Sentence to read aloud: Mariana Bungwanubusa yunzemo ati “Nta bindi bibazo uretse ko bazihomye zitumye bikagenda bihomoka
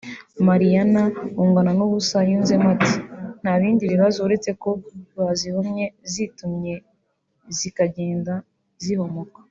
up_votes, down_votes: 2, 1